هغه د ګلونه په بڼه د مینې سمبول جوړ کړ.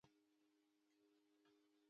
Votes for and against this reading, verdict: 1, 2, rejected